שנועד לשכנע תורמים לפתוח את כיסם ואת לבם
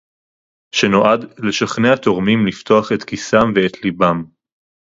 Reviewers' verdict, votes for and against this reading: rejected, 2, 2